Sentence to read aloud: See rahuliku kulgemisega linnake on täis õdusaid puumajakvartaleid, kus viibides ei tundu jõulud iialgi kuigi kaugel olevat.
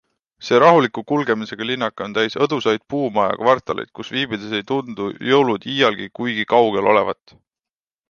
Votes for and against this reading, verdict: 2, 0, accepted